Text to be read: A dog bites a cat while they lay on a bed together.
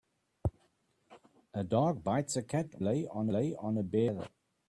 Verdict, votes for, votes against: rejected, 0, 2